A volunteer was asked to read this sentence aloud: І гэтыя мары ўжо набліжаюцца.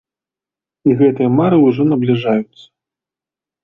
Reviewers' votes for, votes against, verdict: 2, 1, accepted